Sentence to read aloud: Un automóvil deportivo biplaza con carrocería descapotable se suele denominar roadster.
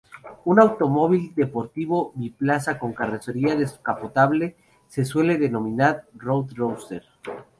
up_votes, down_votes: 0, 2